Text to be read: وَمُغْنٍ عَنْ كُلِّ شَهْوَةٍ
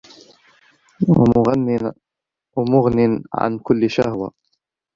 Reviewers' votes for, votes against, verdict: 1, 2, rejected